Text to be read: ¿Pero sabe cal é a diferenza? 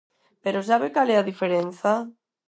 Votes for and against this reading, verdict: 4, 0, accepted